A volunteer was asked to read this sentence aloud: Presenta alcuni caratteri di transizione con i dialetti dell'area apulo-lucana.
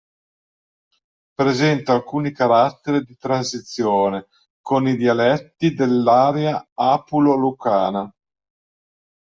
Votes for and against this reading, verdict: 1, 2, rejected